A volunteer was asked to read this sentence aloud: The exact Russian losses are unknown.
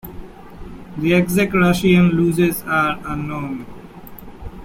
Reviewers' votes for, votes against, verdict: 2, 1, accepted